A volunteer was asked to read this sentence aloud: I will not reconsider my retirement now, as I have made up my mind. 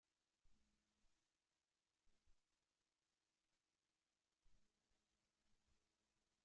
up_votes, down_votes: 0, 2